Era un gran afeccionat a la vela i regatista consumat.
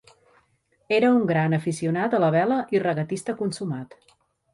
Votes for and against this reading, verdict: 0, 2, rejected